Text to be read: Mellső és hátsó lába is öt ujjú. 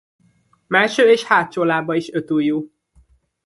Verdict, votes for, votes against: accepted, 2, 0